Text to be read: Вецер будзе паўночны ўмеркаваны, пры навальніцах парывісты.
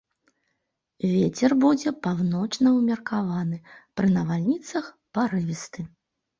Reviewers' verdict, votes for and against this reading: accepted, 2, 0